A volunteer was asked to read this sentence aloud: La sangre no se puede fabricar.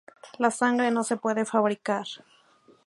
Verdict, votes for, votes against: rejected, 0, 2